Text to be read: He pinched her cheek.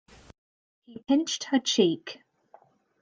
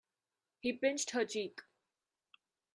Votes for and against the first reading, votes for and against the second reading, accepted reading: 0, 2, 2, 0, second